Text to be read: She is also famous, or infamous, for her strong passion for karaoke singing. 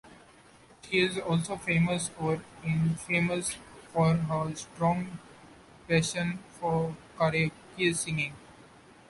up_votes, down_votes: 2, 0